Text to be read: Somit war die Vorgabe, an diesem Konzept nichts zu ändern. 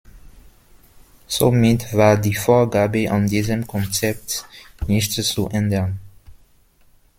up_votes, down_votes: 1, 2